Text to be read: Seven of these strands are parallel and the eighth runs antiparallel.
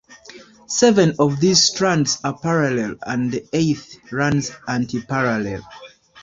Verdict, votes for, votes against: accepted, 3, 1